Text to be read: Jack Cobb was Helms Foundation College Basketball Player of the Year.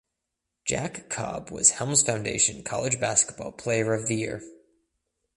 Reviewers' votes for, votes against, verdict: 2, 1, accepted